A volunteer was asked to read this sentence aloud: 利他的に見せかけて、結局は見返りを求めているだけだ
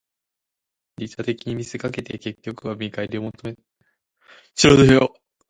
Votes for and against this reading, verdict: 1, 2, rejected